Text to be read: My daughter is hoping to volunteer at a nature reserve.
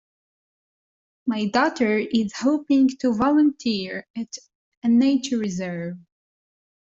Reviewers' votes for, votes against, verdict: 2, 0, accepted